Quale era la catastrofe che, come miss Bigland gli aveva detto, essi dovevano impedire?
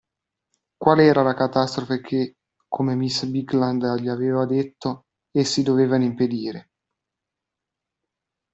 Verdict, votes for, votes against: accepted, 3, 0